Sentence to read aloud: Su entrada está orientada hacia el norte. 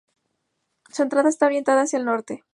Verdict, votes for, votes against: accepted, 2, 0